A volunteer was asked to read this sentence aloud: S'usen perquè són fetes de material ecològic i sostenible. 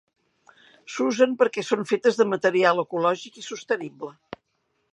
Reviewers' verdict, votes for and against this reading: accepted, 3, 0